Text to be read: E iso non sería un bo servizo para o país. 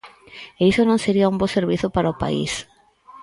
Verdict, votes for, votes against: accepted, 4, 0